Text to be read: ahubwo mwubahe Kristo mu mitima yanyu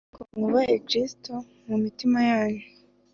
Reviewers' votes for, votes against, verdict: 3, 0, accepted